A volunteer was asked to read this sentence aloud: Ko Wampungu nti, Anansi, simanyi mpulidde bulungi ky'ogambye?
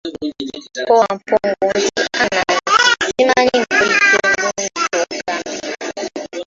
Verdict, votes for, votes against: accepted, 2, 1